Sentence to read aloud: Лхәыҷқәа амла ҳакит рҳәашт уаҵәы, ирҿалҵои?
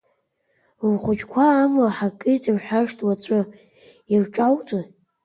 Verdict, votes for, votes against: accepted, 2, 1